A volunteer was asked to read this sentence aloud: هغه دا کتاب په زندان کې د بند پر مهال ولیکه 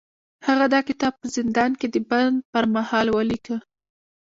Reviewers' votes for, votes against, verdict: 1, 2, rejected